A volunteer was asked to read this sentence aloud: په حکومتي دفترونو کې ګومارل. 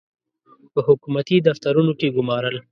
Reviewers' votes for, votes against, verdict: 2, 0, accepted